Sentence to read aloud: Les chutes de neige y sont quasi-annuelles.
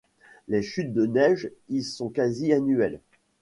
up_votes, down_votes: 2, 0